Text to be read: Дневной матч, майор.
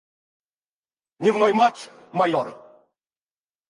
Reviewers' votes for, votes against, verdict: 2, 4, rejected